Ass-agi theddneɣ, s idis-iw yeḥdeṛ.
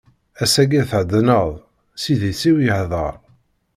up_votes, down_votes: 1, 2